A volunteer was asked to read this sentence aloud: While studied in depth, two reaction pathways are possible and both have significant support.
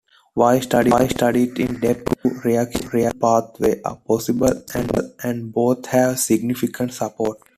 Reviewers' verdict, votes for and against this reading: rejected, 0, 2